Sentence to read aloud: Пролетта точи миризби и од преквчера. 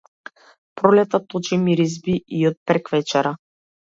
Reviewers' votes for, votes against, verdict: 0, 2, rejected